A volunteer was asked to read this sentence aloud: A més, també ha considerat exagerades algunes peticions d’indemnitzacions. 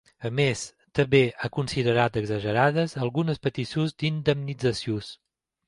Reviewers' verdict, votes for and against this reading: rejected, 0, 2